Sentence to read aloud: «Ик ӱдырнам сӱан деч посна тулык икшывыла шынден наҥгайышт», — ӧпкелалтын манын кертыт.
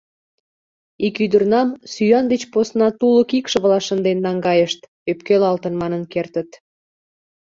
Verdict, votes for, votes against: accepted, 2, 0